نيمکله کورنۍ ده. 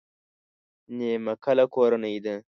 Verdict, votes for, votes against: rejected, 0, 2